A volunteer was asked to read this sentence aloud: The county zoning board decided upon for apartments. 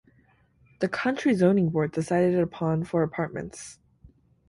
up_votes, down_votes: 0, 2